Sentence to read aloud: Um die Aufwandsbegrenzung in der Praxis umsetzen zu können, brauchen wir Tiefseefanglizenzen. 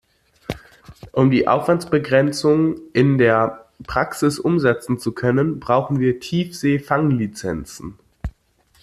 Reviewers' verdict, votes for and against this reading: accepted, 2, 0